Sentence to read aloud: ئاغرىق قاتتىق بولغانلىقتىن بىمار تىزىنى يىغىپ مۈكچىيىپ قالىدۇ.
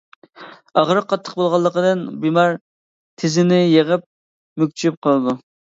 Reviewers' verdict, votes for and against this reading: rejected, 0, 2